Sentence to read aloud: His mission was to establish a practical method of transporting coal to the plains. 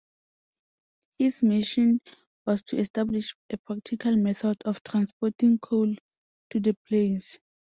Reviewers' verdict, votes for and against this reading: accepted, 2, 0